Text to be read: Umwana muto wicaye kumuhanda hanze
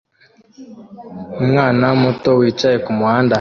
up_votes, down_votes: 0, 2